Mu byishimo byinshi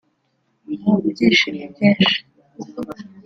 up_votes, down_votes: 3, 0